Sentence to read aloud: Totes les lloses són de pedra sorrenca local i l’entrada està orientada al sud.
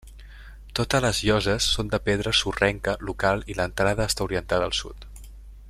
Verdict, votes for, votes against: accepted, 3, 1